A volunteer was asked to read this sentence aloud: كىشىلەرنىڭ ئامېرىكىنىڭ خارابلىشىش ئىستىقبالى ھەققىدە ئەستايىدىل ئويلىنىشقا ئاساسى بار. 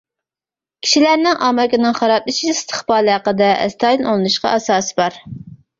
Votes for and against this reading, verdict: 0, 2, rejected